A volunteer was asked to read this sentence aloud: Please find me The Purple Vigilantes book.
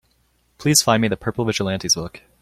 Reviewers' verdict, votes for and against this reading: accepted, 2, 0